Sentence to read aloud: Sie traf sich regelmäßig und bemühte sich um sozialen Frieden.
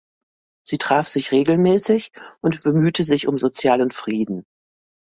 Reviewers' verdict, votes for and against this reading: accepted, 2, 0